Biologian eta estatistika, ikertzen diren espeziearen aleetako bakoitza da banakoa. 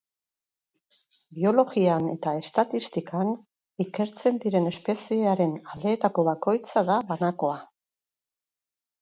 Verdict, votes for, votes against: rejected, 0, 4